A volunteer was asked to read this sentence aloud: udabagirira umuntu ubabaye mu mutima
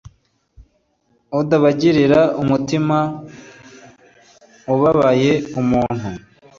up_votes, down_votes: 1, 2